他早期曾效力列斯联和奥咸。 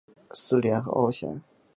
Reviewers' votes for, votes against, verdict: 0, 2, rejected